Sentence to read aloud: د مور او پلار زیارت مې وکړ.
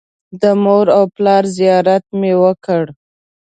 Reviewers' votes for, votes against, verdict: 2, 0, accepted